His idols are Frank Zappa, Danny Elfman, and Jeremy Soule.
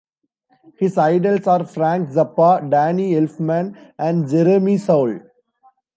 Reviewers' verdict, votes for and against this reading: accepted, 2, 1